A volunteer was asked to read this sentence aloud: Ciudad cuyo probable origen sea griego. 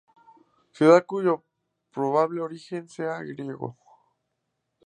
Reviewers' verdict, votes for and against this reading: accepted, 2, 0